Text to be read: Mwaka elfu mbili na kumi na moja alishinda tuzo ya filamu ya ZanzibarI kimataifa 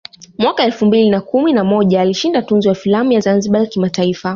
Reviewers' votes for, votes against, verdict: 2, 0, accepted